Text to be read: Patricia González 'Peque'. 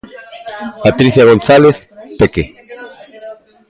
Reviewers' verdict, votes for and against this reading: accepted, 2, 1